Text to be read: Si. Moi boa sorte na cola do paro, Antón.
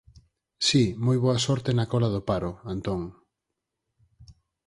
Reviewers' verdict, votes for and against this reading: accepted, 4, 0